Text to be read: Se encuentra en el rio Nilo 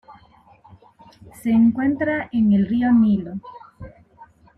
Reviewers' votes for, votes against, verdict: 3, 0, accepted